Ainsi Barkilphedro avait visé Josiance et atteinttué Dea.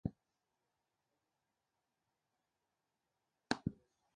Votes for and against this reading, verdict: 0, 2, rejected